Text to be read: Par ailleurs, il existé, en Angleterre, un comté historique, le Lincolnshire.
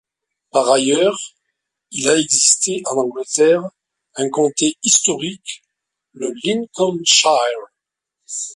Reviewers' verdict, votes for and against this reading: rejected, 0, 2